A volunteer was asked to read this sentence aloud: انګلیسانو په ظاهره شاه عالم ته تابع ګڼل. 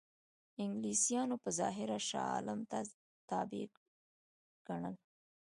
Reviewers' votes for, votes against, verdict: 2, 0, accepted